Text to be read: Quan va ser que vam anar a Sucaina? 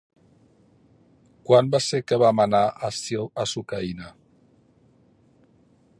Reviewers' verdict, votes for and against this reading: rejected, 1, 3